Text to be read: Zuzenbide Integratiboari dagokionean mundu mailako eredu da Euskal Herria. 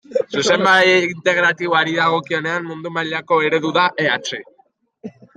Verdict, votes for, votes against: rejected, 0, 2